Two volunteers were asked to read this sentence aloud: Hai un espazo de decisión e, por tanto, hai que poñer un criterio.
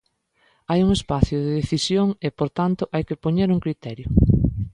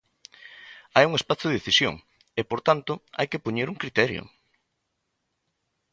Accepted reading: second